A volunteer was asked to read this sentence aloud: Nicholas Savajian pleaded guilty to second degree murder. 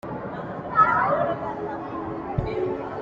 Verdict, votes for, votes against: rejected, 0, 2